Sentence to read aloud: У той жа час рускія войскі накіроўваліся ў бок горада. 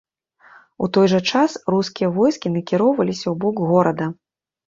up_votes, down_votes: 2, 0